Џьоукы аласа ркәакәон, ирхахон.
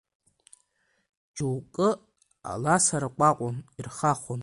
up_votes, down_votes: 2, 0